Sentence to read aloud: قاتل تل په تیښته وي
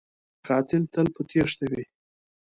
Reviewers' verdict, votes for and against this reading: accepted, 2, 0